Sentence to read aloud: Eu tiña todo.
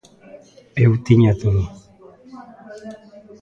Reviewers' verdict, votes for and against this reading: rejected, 0, 2